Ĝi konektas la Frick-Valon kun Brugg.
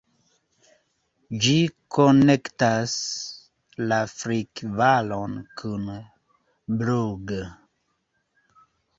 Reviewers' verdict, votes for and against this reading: rejected, 1, 2